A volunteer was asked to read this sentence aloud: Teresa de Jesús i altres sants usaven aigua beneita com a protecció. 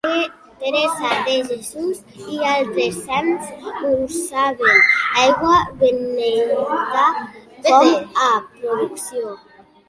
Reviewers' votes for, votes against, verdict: 0, 3, rejected